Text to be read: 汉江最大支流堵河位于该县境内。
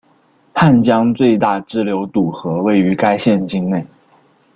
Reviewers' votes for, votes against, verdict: 1, 2, rejected